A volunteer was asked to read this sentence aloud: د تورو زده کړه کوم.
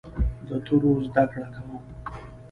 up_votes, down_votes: 2, 0